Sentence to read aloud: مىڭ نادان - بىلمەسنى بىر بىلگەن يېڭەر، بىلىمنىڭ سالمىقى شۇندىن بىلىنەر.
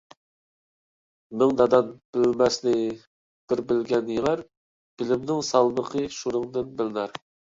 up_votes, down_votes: 1, 2